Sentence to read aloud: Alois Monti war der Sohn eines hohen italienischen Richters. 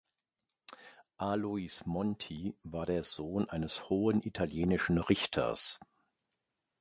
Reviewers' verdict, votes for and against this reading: accepted, 2, 0